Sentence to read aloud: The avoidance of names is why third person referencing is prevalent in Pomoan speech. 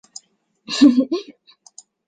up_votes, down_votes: 0, 2